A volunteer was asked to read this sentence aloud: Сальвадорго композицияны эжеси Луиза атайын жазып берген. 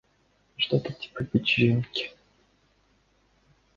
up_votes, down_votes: 0, 2